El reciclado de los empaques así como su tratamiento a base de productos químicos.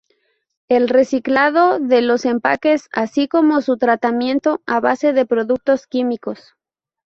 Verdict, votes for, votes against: accepted, 2, 0